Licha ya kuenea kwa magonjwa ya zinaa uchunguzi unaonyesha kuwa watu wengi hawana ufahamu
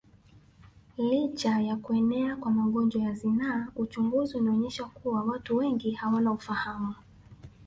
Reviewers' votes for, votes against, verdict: 1, 2, rejected